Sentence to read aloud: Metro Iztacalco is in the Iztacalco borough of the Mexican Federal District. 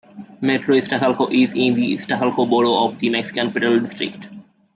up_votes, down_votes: 1, 2